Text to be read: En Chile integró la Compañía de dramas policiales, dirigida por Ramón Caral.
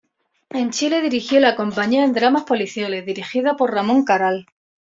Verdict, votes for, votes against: rejected, 1, 2